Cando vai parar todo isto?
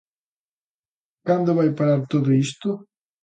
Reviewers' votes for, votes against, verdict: 4, 0, accepted